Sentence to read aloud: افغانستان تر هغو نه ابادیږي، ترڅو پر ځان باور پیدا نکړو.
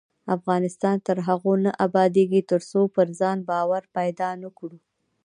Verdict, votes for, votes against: accepted, 2, 0